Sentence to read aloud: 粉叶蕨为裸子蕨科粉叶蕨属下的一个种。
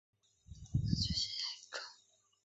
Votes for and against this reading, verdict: 0, 2, rejected